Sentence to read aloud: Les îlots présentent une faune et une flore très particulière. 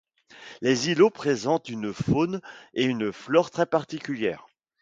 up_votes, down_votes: 2, 0